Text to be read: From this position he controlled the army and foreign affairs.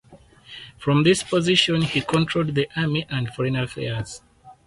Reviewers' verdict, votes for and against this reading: accepted, 4, 0